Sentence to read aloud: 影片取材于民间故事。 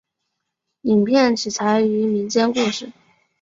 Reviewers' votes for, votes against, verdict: 5, 0, accepted